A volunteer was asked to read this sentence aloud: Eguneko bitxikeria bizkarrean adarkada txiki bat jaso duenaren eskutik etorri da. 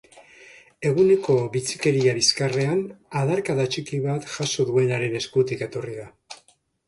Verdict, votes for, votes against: accepted, 2, 0